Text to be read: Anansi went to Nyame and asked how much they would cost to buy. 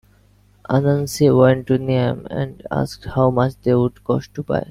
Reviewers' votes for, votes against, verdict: 0, 2, rejected